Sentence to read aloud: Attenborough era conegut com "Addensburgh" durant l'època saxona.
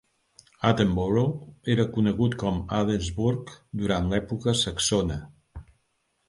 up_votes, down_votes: 2, 0